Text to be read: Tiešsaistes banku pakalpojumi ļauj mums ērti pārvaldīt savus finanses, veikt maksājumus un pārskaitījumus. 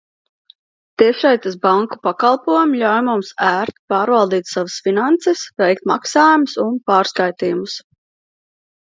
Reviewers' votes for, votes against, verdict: 2, 0, accepted